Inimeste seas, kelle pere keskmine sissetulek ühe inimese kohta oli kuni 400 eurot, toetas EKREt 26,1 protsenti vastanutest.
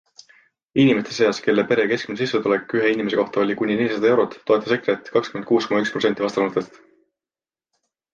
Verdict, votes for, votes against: rejected, 0, 2